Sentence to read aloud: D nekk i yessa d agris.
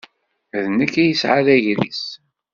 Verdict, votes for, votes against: rejected, 0, 2